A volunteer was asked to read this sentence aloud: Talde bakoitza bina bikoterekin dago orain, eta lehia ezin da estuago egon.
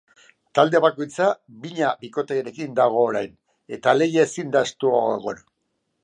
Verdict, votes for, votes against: rejected, 0, 2